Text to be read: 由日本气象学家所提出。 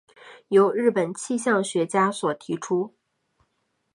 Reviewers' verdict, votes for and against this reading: accepted, 7, 0